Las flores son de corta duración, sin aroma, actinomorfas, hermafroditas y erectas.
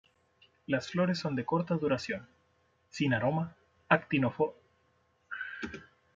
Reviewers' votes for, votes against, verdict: 1, 3, rejected